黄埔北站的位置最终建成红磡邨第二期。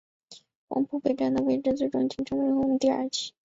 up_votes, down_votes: 2, 1